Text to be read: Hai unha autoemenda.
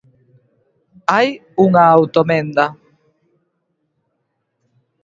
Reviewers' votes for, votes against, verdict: 0, 2, rejected